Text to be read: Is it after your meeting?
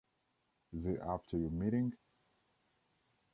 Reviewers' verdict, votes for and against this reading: accepted, 2, 0